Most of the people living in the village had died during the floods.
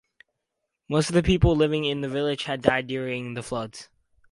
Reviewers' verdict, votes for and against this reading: accepted, 2, 0